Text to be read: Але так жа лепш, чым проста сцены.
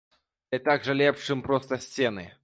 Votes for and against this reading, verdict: 0, 2, rejected